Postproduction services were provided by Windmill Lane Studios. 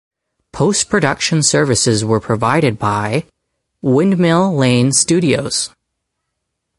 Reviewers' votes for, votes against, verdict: 4, 0, accepted